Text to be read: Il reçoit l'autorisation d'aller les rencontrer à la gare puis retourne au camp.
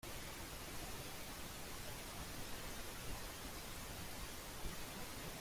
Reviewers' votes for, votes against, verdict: 0, 2, rejected